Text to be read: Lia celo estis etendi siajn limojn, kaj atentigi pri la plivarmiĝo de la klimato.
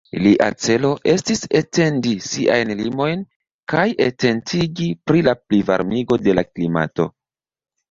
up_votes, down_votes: 2, 0